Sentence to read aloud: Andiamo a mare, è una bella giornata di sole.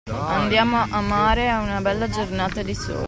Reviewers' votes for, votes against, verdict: 0, 2, rejected